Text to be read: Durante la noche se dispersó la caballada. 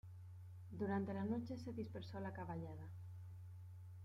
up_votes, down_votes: 1, 2